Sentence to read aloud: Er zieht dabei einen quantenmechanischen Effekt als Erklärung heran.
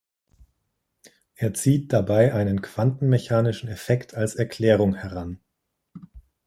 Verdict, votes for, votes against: accepted, 2, 0